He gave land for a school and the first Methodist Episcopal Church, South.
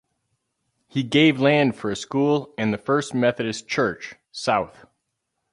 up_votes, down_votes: 0, 4